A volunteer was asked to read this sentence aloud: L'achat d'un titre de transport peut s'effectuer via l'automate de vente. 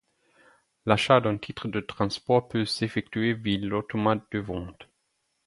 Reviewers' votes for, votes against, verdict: 4, 2, accepted